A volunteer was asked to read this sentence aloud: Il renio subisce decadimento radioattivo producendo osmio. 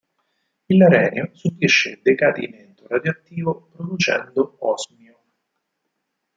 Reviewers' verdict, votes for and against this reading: rejected, 4, 8